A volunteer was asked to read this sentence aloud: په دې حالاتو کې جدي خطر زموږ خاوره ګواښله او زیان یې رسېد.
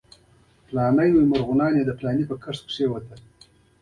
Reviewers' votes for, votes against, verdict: 0, 3, rejected